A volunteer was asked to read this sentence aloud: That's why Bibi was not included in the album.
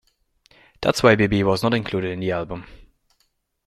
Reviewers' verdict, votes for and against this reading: accepted, 2, 0